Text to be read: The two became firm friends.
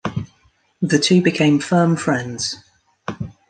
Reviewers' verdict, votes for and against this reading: accepted, 2, 1